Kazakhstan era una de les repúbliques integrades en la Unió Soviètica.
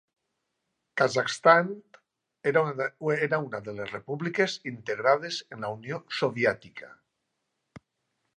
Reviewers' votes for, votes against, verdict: 0, 2, rejected